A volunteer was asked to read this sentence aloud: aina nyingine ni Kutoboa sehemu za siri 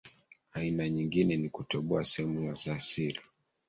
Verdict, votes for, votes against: rejected, 1, 2